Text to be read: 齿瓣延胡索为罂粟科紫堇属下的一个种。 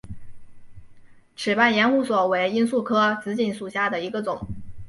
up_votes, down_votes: 3, 0